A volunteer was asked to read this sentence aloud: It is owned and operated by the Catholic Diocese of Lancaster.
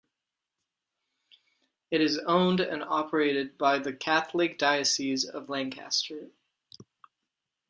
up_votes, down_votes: 2, 0